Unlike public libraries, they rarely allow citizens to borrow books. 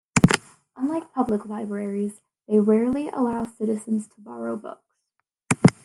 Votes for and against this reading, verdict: 1, 2, rejected